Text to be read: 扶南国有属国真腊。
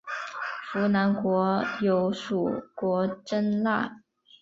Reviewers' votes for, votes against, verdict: 2, 0, accepted